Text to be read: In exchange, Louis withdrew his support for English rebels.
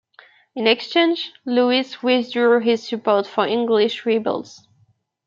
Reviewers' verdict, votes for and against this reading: rejected, 1, 2